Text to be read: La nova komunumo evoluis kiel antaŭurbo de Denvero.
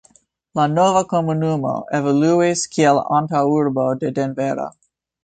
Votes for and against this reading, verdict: 0, 2, rejected